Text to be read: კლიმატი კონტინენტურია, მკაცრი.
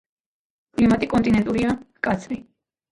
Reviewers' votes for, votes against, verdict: 1, 2, rejected